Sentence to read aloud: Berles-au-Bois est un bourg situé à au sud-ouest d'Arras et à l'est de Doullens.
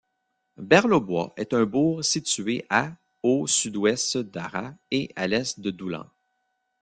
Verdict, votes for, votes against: rejected, 1, 2